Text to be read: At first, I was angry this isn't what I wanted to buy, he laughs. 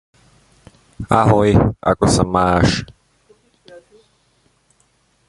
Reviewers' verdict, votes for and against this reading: rejected, 0, 2